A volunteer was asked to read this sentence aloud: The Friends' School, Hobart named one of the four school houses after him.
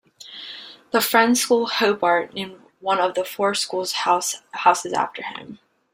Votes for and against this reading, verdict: 0, 2, rejected